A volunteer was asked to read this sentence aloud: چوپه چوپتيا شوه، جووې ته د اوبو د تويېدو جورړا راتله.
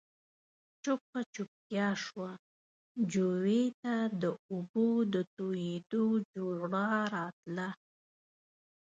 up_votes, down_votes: 2, 1